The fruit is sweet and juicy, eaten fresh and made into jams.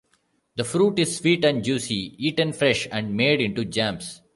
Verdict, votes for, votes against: accepted, 2, 0